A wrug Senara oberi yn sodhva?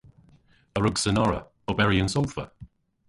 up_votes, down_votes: 1, 2